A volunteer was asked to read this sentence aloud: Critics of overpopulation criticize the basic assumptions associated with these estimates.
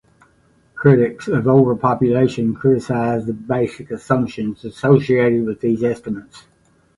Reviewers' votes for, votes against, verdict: 2, 0, accepted